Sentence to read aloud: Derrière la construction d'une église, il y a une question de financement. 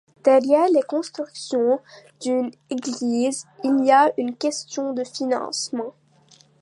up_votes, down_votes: 0, 2